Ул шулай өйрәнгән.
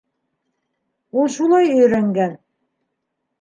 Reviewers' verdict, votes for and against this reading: accepted, 2, 0